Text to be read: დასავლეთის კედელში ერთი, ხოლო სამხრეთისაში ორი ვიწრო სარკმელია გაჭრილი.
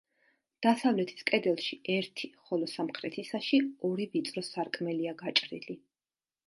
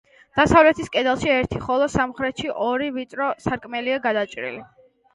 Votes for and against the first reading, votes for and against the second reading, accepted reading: 2, 0, 0, 2, first